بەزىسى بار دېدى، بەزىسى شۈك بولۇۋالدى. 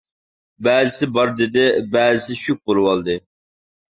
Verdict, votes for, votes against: rejected, 1, 2